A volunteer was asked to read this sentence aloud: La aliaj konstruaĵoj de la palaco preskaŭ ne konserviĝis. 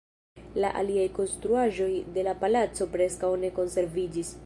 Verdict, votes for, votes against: accepted, 2, 0